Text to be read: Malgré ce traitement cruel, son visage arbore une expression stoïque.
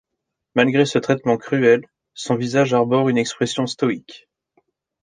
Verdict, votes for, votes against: accepted, 3, 0